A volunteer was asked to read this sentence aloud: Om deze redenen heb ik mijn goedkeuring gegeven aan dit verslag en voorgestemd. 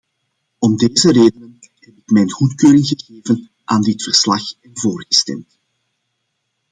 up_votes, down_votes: 1, 2